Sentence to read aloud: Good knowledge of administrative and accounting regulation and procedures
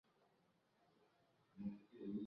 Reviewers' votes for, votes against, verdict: 0, 2, rejected